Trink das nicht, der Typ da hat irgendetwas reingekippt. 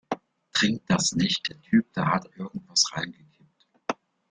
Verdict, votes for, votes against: rejected, 1, 2